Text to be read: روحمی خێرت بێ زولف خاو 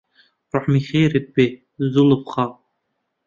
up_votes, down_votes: 1, 2